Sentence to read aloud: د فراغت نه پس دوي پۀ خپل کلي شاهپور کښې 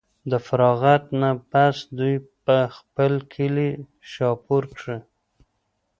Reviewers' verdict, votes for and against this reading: accepted, 2, 0